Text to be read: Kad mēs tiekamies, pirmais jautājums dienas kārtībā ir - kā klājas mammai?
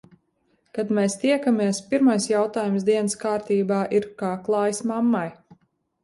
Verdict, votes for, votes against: accepted, 2, 0